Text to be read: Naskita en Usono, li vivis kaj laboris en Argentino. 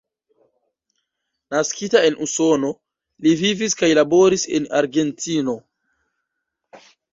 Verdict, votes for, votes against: accepted, 2, 1